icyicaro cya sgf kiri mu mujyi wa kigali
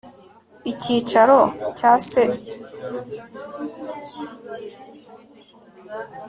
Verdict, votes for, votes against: rejected, 0, 2